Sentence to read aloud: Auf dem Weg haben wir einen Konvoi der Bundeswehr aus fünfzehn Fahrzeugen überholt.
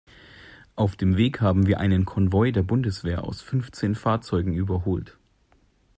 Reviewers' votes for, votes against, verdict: 2, 0, accepted